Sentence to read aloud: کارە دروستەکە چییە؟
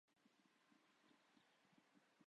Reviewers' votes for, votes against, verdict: 0, 2, rejected